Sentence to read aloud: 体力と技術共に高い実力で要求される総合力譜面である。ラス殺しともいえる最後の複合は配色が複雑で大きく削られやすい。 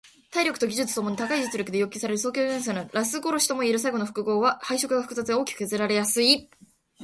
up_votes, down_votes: 0, 2